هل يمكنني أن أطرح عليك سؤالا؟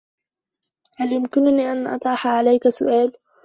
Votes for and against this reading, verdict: 2, 1, accepted